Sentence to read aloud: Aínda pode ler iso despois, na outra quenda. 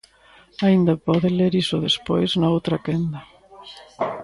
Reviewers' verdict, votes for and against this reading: accepted, 2, 0